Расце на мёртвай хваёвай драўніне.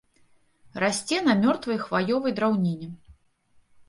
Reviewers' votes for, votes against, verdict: 3, 0, accepted